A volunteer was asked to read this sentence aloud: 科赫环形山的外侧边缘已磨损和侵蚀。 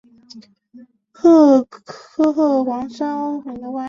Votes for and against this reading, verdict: 0, 2, rejected